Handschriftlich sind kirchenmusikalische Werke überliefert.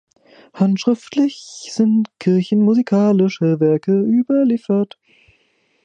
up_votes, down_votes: 1, 2